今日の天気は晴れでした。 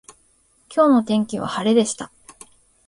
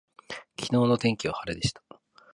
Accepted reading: first